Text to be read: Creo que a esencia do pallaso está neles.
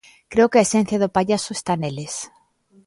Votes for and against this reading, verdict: 2, 0, accepted